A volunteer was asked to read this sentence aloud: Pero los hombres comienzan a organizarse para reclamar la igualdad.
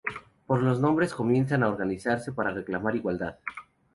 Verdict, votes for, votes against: rejected, 0, 2